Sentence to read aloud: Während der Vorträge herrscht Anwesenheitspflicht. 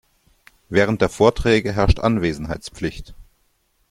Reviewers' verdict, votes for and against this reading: accepted, 2, 0